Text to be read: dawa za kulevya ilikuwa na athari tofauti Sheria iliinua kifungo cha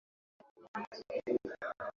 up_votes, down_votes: 0, 2